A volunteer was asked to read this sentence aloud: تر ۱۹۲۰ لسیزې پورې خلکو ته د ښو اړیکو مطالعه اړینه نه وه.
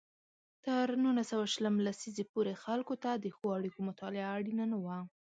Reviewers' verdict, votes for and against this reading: rejected, 0, 2